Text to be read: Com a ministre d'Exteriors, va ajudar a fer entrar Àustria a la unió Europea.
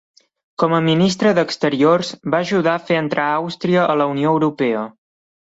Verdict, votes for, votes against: accepted, 2, 0